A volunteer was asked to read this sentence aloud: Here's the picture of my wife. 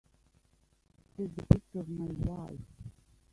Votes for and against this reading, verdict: 1, 2, rejected